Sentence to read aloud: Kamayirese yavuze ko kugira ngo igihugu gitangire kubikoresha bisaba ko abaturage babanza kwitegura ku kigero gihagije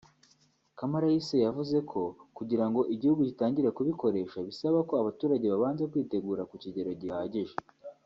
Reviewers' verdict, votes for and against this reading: accepted, 2, 0